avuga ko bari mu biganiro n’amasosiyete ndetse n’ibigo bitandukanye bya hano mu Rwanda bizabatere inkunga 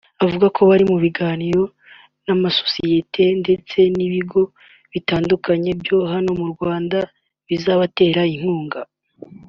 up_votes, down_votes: 2, 0